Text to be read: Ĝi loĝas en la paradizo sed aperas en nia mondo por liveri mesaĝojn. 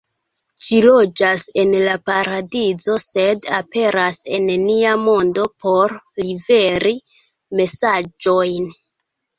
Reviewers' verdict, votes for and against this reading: rejected, 1, 2